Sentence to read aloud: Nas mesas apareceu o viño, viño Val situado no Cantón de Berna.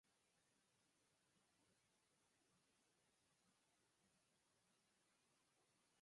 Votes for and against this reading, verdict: 0, 4, rejected